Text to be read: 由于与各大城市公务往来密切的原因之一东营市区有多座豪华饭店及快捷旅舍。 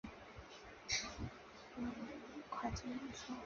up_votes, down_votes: 0, 3